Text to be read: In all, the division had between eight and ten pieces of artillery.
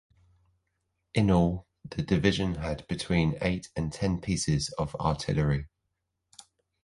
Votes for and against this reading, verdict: 2, 0, accepted